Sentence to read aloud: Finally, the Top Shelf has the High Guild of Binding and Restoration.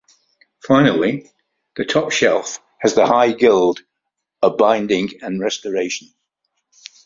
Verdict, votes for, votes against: accepted, 2, 0